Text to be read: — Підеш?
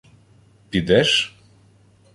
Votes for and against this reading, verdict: 1, 2, rejected